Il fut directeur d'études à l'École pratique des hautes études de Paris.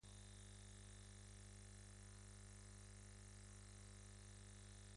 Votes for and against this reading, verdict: 0, 2, rejected